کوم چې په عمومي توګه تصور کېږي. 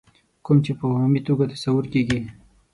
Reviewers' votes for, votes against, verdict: 6, 0, accepted